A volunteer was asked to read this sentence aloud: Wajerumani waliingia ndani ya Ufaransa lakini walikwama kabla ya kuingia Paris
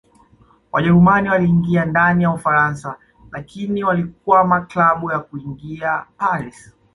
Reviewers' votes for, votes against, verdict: 2, 0, accepted